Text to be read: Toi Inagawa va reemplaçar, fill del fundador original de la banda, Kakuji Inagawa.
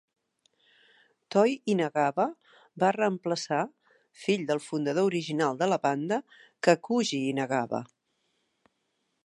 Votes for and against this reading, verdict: 2, 0, accepted